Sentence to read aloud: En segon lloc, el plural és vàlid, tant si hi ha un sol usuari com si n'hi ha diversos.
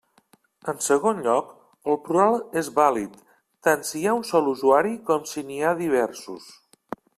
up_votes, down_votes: 3, 0